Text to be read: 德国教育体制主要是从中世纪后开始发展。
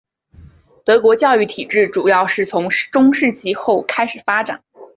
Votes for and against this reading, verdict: 4, 0, accepted